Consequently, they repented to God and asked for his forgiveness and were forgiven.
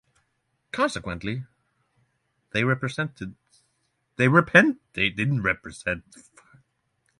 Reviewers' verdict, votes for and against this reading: rejected, 0, 6